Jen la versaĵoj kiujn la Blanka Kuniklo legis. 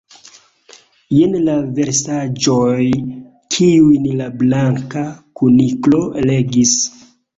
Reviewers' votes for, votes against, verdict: 2, 0, accepted